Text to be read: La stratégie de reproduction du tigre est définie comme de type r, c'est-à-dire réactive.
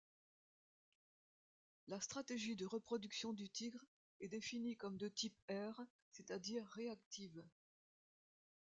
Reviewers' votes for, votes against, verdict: 0, 2, rejected